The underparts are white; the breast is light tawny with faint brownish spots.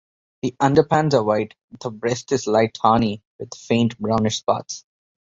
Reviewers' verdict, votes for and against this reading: rejected, 1, 2